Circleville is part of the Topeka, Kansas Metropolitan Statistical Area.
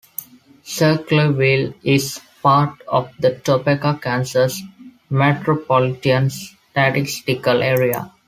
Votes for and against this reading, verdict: 0, 2, rejected